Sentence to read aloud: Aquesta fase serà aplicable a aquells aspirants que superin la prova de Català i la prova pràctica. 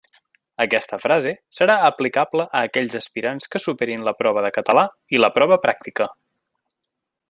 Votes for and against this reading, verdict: 0, 2, rejected